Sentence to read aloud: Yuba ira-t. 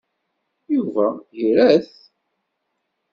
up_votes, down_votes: 2, 1